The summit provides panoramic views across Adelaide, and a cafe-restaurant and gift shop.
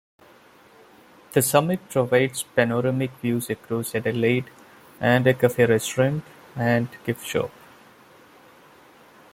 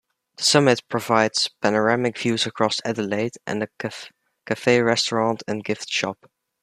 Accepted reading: first